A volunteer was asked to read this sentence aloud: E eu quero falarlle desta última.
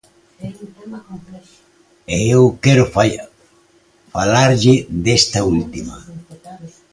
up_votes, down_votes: 0, 2